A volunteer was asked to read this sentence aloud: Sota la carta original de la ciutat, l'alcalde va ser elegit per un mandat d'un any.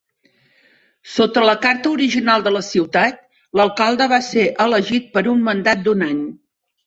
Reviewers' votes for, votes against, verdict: 4, 0, accepted